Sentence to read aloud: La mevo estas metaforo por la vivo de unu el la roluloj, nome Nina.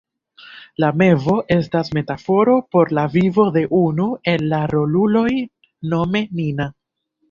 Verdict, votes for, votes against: rejected, 1, 2